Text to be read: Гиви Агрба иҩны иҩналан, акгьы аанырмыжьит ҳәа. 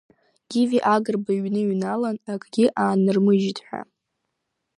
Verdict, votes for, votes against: accepted, 3, 0